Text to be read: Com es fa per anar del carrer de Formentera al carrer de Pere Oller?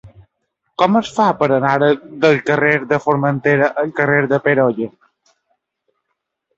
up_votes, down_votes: 0, 2